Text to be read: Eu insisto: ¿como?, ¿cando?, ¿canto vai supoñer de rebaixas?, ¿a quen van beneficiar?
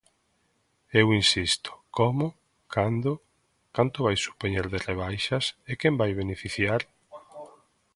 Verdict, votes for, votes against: rejected, 0, 2